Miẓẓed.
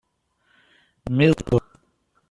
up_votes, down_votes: 0, 2